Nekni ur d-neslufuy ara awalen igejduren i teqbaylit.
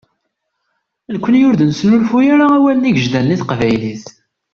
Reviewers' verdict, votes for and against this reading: rejected, 1, 2